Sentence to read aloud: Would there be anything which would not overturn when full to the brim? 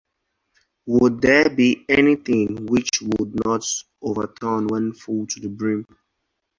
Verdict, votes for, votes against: accepted, 2, 0